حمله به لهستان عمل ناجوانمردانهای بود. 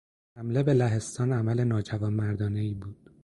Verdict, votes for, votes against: accepted, 2, 0